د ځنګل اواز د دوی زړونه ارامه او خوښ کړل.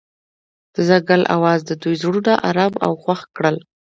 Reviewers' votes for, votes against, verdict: 2, 0, accepted